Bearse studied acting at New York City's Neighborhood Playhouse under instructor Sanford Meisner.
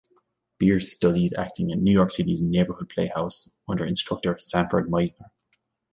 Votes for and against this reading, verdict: 1, 2, rejected